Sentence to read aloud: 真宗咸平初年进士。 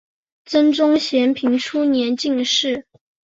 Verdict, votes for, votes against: accepted, 3, 0